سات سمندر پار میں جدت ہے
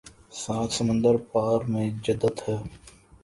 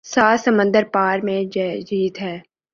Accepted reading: first